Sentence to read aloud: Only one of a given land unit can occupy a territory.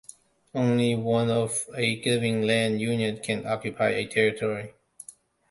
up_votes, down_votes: 0, 2